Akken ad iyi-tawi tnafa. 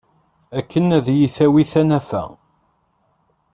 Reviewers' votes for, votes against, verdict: 0, 2, rejected